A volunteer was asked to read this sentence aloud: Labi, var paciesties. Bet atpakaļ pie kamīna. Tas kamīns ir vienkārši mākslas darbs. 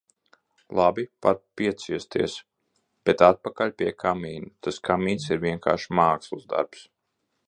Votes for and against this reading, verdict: 0, 2, rejected